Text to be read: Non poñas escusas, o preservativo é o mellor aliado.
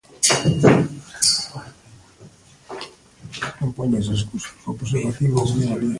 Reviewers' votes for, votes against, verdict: 0, 2, rejected